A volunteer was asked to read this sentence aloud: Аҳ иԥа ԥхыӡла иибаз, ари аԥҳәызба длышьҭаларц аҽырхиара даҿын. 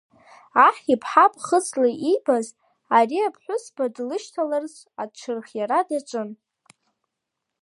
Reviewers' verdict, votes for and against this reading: accepted, 2, 1